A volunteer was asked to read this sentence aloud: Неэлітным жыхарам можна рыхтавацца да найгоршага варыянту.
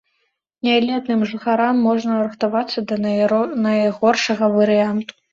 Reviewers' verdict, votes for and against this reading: rejected, 0, 2